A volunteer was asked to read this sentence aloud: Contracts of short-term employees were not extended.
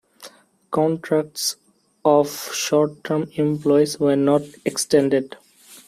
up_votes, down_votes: 2, 0